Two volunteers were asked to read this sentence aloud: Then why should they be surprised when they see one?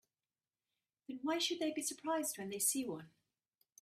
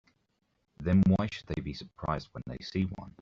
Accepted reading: first